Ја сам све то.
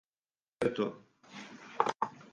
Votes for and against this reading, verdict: 0, 4, rejected